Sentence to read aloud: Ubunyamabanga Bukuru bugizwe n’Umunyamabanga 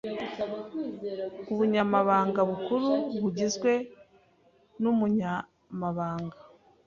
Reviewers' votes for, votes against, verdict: 2, 0, accepted